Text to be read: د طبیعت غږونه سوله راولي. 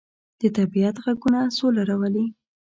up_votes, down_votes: 2, 0